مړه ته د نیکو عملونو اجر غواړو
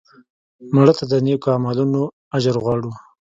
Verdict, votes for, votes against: accepted, 4, 1